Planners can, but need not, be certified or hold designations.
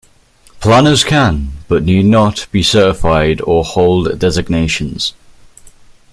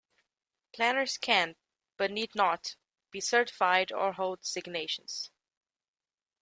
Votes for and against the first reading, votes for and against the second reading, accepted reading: 2, 0, 1, 2, first